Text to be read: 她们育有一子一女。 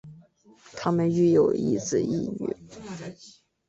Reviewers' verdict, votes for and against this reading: accepted, 2, 0